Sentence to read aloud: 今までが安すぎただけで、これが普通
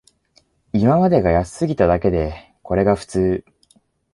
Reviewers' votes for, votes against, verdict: 2, 0, accepted